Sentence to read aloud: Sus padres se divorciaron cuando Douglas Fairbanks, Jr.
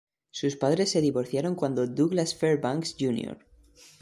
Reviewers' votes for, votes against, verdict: 2, 1, accepted